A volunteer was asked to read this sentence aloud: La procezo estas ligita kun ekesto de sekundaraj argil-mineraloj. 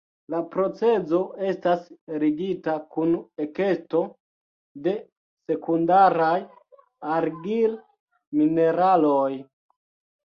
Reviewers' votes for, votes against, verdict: 1, 3, rejected